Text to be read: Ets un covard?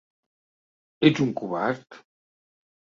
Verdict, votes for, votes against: accepted, 2, 0